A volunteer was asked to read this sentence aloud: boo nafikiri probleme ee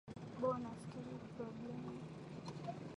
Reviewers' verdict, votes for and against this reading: rejected, 1, 2